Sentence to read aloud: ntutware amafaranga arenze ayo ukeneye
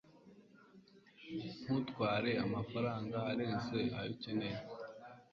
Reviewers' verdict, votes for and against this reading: accepted, 2, 0